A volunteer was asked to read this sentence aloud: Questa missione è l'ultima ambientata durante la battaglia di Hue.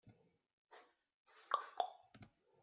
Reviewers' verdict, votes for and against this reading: rejected, 1, 2